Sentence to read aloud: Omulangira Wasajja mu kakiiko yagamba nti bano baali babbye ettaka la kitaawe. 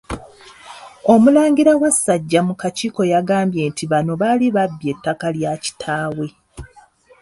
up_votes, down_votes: 1, 2